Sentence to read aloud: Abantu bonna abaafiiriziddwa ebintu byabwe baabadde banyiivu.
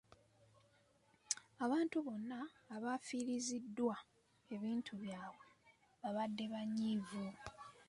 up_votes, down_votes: 2, 1